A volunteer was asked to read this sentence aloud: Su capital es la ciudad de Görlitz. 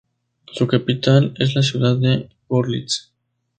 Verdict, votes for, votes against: accepted, 2, 0